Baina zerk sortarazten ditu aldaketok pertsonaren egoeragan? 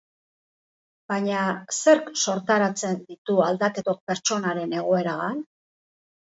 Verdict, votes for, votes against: rejected, 2, 2